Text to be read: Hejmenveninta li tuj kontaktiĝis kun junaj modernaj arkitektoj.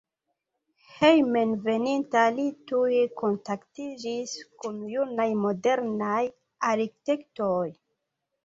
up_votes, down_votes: 2, 1